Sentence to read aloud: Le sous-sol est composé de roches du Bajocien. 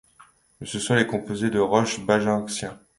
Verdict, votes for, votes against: rejected, 1, 2